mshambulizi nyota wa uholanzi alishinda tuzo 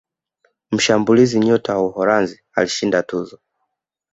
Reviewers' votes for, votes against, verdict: 3, 0, accepted